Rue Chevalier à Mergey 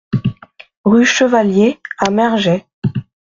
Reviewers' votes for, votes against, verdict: 2, 0, accepted